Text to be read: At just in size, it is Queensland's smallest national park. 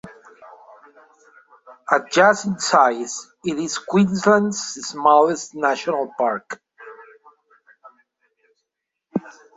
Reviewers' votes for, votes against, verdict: 2, 1, accepted